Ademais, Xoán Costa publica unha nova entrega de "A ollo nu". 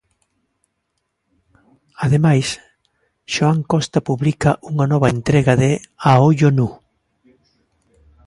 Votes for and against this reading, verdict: 3, 0, accepted